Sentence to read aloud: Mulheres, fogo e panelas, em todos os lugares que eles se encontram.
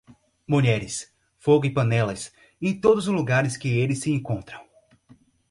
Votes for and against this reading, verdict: 4, 0, accepted